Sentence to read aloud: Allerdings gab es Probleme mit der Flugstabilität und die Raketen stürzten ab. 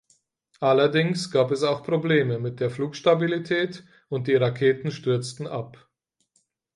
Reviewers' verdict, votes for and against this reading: rejected, 2, 4